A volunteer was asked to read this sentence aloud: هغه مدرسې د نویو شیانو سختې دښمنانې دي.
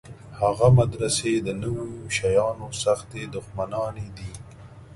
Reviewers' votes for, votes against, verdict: 2, 0, accepted